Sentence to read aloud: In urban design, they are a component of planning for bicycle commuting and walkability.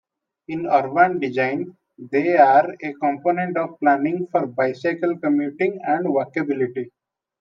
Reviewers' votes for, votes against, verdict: 2, 1, accepted